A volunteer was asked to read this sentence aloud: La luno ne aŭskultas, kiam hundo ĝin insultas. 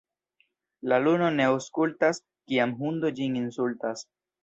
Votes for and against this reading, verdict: 2, 0, accepted